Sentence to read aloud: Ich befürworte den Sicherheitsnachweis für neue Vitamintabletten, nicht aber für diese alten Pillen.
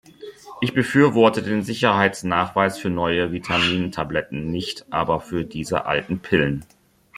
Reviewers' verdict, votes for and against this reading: accepted, 2, 0